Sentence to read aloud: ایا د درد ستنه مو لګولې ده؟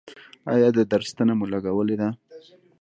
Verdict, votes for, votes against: rejected, 0, 2